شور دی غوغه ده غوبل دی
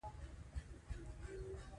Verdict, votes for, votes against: rejected, 0, 2